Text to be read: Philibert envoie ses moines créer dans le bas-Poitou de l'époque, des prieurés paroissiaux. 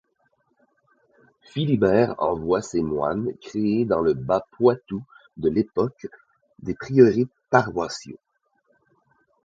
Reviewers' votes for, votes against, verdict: 2, 0, accepted